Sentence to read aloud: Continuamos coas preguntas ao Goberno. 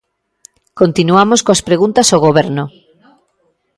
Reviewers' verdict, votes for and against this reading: accepted, 2, 0